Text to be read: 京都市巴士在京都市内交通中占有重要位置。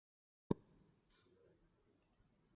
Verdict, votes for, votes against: rejected, 0, 2